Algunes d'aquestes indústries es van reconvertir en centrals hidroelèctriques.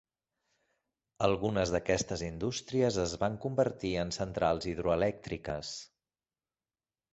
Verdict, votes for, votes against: rejected, 1, 3